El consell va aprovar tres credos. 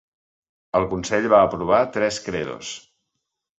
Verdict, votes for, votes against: accepted, 2, 0